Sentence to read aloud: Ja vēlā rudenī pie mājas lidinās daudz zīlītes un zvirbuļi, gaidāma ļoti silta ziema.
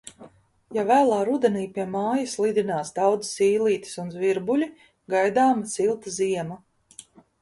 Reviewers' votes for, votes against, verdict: 1, 2, rejected